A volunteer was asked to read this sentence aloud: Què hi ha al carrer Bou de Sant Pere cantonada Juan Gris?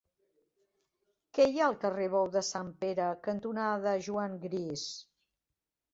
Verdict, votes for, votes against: accepted, 2, 0